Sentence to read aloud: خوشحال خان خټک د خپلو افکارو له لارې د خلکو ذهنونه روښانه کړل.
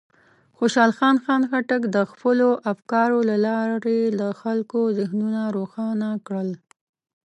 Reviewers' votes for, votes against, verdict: 1, 2, rejected